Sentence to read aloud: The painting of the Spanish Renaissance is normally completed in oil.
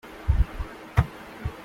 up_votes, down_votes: 0, 2